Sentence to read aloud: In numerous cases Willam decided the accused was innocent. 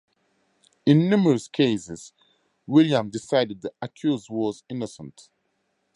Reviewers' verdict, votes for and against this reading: accepted, 4, 0